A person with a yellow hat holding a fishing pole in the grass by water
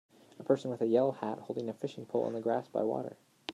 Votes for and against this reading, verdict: 2, 0, accepted